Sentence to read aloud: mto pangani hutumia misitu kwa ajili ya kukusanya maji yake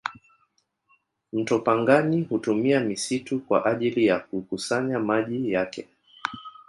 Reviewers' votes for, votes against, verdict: 0, 2, rejected